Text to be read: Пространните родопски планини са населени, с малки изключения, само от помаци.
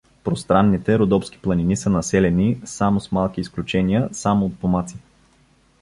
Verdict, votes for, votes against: rejected, 1, 2